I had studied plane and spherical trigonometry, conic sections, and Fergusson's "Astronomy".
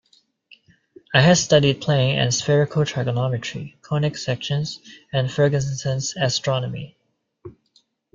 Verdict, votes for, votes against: accepted, 2, 0